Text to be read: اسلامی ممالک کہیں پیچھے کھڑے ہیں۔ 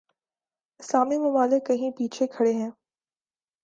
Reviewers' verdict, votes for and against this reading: accepted, 2, 0